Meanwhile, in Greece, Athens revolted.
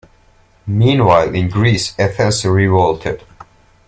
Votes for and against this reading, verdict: 2, 3, rejected